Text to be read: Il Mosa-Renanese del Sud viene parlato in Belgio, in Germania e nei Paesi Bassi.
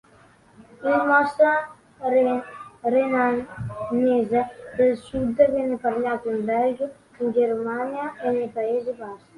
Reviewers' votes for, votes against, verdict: 0, 2, rejected